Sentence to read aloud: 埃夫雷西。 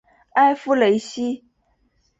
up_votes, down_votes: 2, 0